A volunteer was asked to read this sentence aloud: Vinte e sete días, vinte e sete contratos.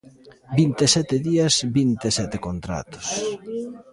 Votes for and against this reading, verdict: 1, 2, rejected